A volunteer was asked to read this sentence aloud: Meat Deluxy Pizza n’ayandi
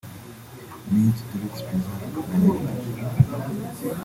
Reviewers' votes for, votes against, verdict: 0, 3, rejected